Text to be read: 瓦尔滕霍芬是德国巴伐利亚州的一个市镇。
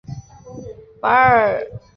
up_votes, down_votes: 0, 3